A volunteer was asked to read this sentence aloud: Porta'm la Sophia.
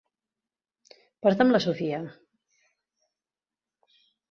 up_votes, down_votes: 2, 0